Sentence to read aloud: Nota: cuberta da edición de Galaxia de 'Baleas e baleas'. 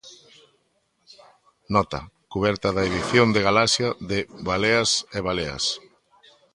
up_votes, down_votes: 2, 0